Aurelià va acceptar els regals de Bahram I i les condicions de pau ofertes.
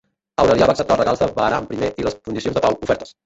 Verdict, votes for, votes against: rejected, 0, 2